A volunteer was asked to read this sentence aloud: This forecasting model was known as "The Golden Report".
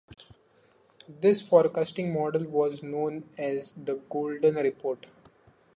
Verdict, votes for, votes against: accepted, 2, 0